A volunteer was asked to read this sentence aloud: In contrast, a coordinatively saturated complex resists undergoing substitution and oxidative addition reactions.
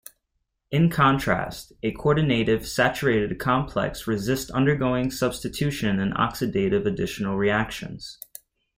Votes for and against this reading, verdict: 1, 2, rejected